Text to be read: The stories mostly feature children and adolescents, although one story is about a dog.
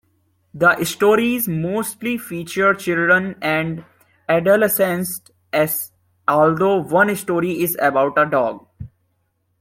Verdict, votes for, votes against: rejected, 0, 2